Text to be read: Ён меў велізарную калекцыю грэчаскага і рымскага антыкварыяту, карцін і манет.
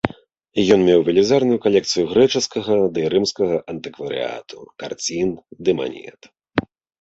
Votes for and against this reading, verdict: 1, 2, rejected